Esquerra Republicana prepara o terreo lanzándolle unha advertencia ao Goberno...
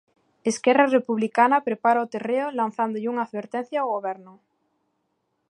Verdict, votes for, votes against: accepted, 2, 0